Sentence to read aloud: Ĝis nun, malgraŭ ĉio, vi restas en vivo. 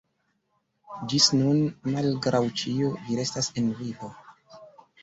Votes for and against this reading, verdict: 2, 0, accepted